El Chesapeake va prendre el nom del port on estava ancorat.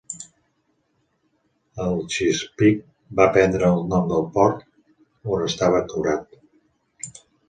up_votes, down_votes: 2, 3